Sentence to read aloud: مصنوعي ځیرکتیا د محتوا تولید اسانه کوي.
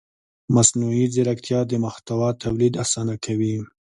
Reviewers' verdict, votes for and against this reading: accepted, 2, 0